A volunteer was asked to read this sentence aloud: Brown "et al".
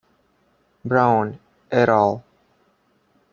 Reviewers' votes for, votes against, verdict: 0, 2, rejected